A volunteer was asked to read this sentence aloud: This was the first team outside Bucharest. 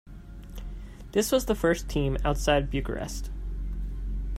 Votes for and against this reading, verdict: 2, 0, accepted